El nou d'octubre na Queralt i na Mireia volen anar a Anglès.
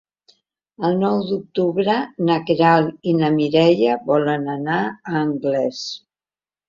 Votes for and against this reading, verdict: 3, 0, accepted